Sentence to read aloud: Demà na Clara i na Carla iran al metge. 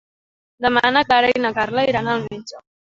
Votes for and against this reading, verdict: 2, 0, accepted